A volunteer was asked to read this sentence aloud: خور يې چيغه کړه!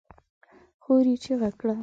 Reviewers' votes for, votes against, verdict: 3, 0, accepted